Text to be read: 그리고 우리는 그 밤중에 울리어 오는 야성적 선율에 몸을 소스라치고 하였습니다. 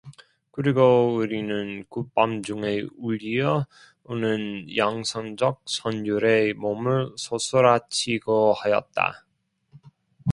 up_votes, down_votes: 0, 2